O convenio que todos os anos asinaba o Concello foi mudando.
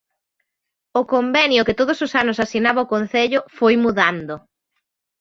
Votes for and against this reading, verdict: 1, 2, rejected